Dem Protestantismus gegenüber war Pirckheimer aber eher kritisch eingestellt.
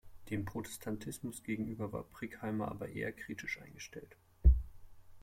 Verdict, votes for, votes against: rejected, 0, 2